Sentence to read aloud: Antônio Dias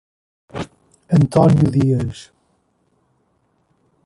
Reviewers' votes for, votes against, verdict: 1, 2, rejected